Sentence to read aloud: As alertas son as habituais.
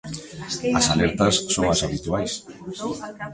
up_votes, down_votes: 2, 1